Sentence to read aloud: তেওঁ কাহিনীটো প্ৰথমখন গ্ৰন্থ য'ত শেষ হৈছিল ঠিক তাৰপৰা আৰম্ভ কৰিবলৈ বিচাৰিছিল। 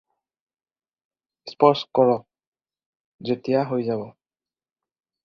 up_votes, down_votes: 0, 4